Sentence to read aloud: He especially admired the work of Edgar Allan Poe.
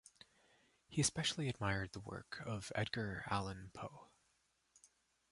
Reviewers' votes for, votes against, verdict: 1, 2, rejected